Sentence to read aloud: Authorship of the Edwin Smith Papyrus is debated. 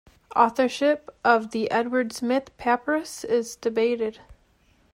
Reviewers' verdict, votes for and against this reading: rejected, 0, 2